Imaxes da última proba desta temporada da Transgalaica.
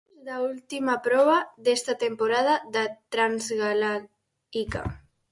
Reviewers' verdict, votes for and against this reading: rejected, 0, 4